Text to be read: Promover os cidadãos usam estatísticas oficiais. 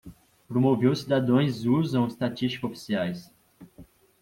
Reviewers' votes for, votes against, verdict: 1, 2, rejected